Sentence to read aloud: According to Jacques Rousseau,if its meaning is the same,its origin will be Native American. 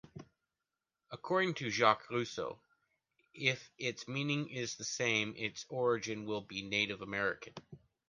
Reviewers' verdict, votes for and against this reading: accepted, 2, 0